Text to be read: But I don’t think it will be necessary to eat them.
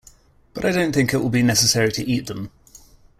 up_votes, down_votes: 2, 0